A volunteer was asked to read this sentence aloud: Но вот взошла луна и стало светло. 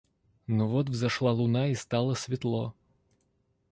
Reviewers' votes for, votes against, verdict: 2, 0, accepted